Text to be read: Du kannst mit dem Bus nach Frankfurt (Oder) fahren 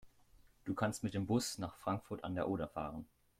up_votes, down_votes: 1, 2